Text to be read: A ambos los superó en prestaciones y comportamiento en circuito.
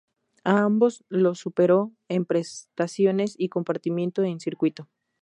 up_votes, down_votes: 0, 2